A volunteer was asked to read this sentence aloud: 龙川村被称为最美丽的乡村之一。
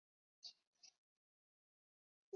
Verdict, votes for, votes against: rejected, 0, 4